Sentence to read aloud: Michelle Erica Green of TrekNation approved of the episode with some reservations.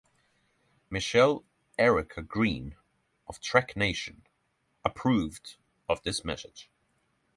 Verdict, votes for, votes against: rejected, 0, 3